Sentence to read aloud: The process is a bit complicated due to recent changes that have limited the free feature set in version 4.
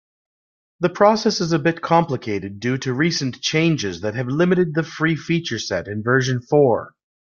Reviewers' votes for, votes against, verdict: 0, 2, rejected